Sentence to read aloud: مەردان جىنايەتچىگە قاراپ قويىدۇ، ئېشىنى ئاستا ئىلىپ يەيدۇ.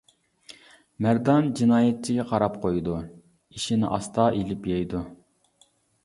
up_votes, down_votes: 0, 2